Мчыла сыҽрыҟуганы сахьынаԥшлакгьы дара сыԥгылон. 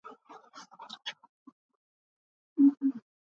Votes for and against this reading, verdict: 0, 2, rejected